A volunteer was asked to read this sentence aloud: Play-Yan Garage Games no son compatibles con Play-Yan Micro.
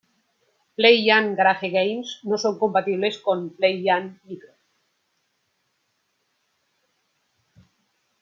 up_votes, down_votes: 2, 0